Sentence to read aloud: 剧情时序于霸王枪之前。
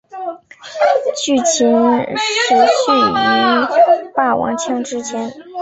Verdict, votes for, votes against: rejected, 0, 2